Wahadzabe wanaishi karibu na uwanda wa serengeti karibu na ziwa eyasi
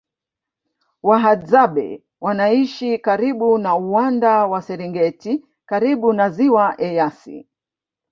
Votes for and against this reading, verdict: 8, 0, accepted